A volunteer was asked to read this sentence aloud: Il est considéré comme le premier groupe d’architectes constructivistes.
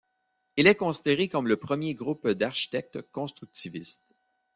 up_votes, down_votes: 2, 0